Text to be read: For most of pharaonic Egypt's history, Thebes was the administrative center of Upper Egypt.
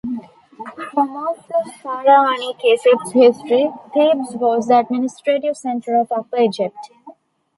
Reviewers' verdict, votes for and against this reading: rejected, 1, 2